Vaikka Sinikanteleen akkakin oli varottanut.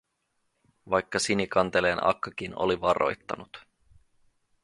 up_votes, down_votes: 0, 4